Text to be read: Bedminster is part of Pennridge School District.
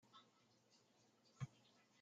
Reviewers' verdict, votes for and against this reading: rejected, 0, 2